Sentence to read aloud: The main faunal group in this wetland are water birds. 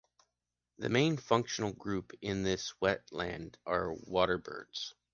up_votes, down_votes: 1, 2